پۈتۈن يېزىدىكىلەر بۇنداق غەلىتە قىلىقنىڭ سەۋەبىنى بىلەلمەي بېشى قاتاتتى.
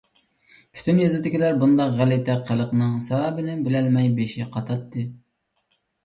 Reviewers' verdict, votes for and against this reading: accepted, 2, 0